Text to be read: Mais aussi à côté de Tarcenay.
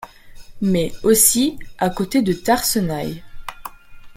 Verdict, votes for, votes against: rejected, 0, 2